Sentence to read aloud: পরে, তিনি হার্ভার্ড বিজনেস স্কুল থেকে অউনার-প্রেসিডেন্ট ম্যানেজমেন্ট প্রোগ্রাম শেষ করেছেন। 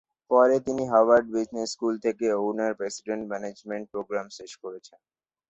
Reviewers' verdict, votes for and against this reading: accepted, 4, 0